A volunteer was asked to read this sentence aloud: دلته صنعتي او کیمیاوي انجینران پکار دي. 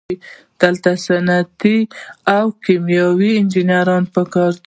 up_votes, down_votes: 2, 0